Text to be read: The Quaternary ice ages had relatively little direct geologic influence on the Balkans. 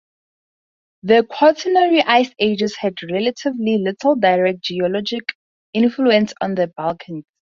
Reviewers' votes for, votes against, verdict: 0, 2, rejected